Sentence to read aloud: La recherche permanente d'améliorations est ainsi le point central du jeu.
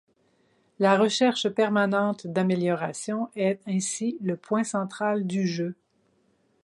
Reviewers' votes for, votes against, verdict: 4, 0, accepted